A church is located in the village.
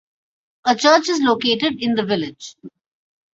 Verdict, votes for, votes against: accepted, 2, 0